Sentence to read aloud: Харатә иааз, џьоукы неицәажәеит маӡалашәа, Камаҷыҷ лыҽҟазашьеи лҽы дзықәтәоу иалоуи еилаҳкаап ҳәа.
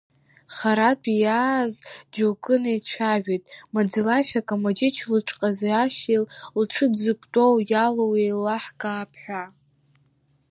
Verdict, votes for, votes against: rejected, 0, 2